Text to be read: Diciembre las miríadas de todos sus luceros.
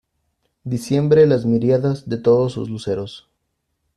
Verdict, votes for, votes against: rejected, 0, 2